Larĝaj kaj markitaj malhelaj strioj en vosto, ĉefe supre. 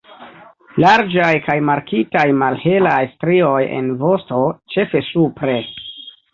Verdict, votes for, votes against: rejected, 1, 2